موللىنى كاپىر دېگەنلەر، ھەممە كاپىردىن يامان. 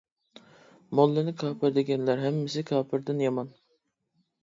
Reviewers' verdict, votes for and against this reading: rejected, 1, 2